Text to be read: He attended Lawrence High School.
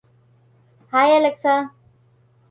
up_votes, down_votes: 0, 2